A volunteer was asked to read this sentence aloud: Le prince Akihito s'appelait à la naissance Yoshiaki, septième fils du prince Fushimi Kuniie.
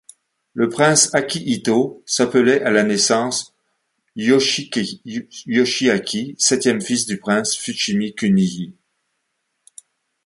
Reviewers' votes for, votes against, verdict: 1, 2, rejected